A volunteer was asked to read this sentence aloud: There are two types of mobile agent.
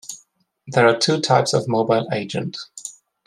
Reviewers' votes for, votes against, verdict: 2, 0, accepted